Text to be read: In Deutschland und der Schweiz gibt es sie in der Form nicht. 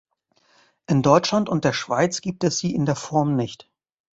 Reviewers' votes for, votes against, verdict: 2, 0, accepted